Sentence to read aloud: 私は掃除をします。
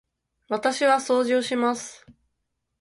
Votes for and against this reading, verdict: 9, 0, accepted